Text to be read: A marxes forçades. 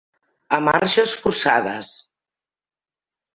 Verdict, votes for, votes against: rejected, 1, 2